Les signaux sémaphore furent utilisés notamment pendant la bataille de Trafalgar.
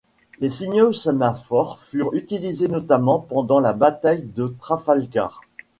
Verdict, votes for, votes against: accepted, 2, 0